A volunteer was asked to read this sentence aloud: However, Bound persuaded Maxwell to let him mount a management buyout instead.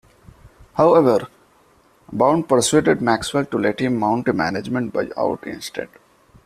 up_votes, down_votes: 2, 0